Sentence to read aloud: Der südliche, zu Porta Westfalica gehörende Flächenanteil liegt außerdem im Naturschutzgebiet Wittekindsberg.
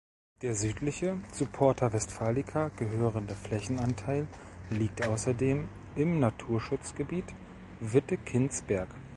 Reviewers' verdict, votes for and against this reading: accepted, 2, 0